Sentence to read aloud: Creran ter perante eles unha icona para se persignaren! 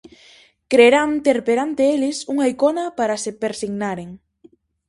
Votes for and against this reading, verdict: 0, 4, rejected